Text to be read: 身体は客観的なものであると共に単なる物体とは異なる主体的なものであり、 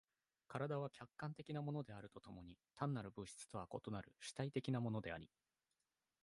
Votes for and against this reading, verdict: 0, 2, rejected